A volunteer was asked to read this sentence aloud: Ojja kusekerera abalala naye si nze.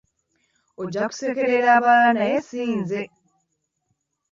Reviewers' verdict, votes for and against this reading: accepted, 2, 0